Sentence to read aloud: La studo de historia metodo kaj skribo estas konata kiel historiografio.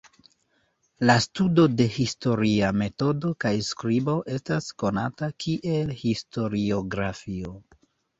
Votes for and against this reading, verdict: 0, 2, rejected